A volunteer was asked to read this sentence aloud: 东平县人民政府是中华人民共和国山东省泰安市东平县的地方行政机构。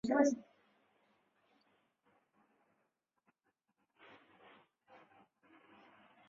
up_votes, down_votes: 0, 2